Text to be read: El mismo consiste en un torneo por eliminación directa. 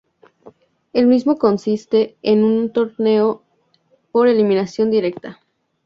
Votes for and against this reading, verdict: 2, 0, accepted